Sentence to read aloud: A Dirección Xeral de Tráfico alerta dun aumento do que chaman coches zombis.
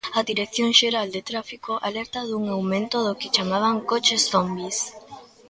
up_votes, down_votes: 1, 2